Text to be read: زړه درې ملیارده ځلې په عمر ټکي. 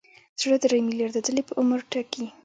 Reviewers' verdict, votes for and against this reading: accepted, 2, 0